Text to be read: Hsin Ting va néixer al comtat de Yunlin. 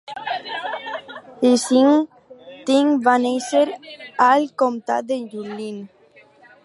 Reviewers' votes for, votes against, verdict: 4, 0, accepted